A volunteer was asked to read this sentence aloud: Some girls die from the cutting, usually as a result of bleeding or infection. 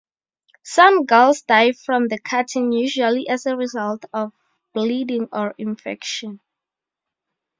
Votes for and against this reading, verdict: 4, 0, accepted